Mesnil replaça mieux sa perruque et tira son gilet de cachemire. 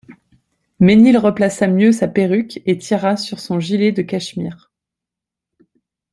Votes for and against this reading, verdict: 1, 2, rejected